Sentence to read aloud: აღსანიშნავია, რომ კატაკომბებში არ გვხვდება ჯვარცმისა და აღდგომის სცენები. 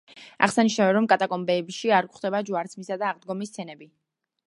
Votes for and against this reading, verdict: 1, 2, rejected